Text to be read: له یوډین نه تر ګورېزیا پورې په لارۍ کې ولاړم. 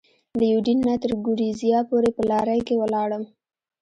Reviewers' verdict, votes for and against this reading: rejected, 1, 2